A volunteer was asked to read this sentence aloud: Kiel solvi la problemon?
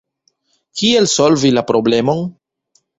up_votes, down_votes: 2, 0